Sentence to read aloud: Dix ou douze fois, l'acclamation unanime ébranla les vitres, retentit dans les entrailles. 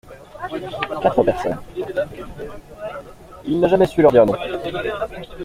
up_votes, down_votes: 0, 2